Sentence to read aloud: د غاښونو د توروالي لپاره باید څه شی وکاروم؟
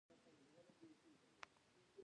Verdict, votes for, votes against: rejected, 0, 2